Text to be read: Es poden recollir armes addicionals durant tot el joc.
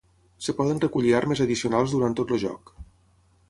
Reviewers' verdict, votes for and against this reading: rejected, 3, 6